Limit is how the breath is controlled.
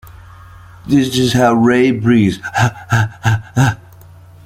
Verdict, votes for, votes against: rejected, 0, 2